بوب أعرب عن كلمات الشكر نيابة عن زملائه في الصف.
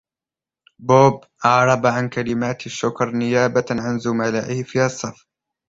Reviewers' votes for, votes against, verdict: 2, 1, accepted